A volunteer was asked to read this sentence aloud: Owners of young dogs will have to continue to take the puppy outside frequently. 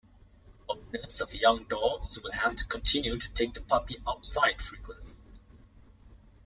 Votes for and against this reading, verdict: 1, 2, rejected